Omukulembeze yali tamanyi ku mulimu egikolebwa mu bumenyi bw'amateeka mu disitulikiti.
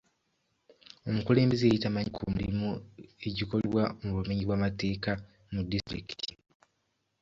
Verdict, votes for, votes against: rejected, 1, 2